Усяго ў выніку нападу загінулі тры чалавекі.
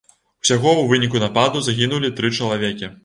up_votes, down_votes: 2, 0